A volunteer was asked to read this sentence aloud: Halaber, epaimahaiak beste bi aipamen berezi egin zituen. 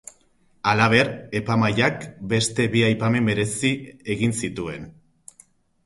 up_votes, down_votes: 0, 2